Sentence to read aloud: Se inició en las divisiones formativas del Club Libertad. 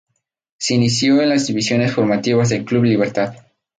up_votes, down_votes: 2, 0